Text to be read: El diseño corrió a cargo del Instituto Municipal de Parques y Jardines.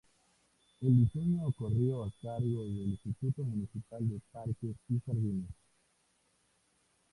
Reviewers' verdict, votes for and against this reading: accepted, 2, 0